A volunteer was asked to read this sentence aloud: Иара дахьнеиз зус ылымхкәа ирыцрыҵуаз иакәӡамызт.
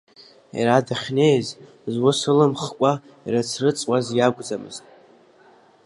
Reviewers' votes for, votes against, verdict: 2, 0, accepted